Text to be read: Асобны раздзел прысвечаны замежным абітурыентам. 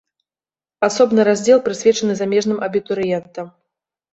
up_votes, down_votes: 2, 0